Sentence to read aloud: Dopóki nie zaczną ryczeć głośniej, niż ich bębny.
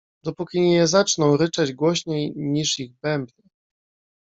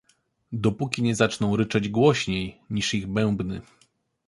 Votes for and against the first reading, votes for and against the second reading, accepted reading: 1, 2, 2, 0, second